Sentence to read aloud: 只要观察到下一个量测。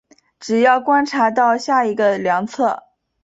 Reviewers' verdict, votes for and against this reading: accepted, 2, 0